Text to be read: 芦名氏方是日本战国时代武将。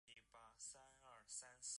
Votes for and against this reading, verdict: 0, 3, rejected